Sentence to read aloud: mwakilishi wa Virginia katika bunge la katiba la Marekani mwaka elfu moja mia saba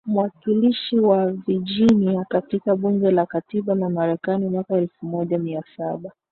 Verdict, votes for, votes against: accepted, 2, 0